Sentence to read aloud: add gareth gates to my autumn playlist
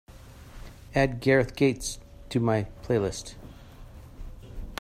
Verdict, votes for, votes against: rejected, 0, 2